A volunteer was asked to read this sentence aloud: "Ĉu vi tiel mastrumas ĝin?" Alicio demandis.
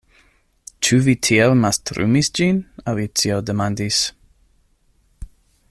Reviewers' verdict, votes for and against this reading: rejected, 0, 2